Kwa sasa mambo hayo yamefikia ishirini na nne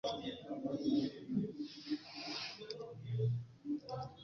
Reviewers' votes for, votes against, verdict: 0, 2, rejected